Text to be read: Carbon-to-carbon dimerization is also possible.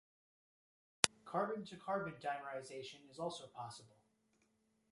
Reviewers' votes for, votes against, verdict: 1, 2, rejected